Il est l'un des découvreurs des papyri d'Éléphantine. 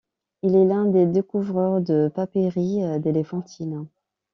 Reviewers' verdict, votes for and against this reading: rejected, 0, 2